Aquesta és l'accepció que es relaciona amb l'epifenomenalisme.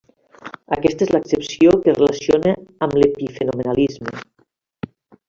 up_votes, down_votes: 0, 2